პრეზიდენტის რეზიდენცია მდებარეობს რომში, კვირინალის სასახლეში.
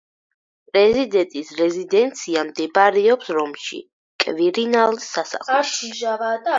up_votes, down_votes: 2, 4